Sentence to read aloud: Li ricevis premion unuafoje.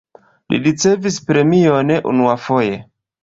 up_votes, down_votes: 2, 0